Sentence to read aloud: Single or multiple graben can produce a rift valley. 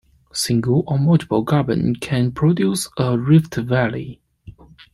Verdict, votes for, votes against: accepted, 2, 1